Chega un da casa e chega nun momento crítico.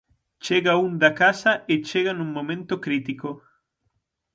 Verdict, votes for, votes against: accepted, 6, 0